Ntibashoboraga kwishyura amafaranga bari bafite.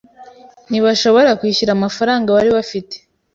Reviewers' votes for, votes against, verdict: 0, 2, rejected